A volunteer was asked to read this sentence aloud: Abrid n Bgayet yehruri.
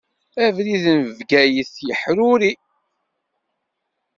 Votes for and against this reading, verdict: 0, 2, rejected